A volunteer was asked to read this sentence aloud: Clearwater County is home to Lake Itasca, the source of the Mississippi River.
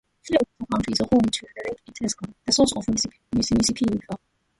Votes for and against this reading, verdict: 0, 2, rejected